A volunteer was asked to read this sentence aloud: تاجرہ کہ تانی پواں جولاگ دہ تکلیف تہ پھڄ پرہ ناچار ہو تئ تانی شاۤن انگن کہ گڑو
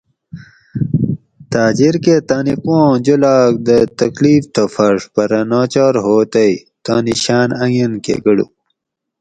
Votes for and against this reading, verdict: 2, 2, rejected